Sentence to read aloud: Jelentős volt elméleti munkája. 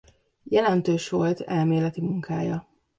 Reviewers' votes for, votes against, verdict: 2, 0, accepted